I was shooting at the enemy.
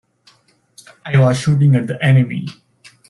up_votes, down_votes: 2, 0